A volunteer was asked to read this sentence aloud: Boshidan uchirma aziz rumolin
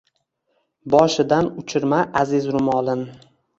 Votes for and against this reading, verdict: 2, 0, accepted